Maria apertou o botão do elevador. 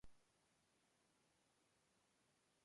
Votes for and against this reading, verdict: 0, 2, rejected